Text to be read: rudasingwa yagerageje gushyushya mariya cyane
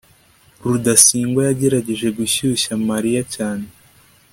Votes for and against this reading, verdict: 2, 0, accepted